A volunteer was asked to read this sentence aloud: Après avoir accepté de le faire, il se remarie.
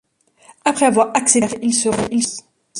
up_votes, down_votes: 0, 2